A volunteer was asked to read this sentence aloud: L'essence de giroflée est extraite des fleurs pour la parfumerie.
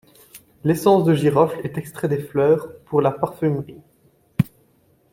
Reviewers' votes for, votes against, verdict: 0, 2, rejected